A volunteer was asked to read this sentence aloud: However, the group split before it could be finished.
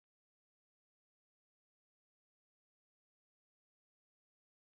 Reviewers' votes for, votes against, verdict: 0, 2, rejected